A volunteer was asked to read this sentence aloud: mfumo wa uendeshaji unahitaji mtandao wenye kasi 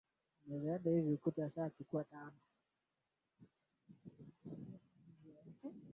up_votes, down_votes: 0, 7